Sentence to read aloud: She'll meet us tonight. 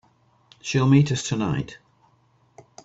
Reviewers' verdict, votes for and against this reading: accepted, 2, 0